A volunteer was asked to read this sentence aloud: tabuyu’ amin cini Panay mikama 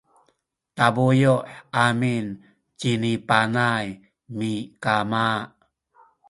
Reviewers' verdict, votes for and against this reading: rejected, 0, 2